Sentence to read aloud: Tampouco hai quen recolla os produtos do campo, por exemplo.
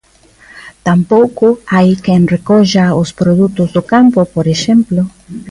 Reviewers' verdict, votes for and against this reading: accepted, 2, 0